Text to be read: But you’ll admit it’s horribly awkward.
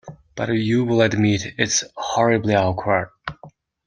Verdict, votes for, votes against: rejected, 1, 2